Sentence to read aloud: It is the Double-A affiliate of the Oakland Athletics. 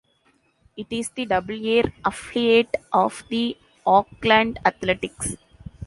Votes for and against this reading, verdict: 0, 2, rejected